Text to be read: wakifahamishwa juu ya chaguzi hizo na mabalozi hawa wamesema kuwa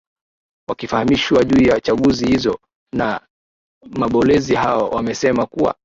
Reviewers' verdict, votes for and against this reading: rejected, 1, 2